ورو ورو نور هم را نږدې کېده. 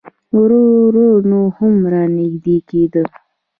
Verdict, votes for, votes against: rejected, 1, 2